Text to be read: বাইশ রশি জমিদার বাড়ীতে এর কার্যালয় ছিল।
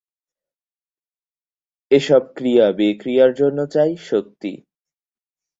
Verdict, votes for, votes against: rejected, 0, 10